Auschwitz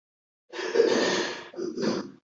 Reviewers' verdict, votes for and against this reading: rejected, 0, 2